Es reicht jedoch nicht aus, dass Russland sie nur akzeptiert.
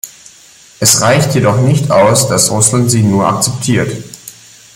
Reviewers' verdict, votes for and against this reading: accepted, 2, 0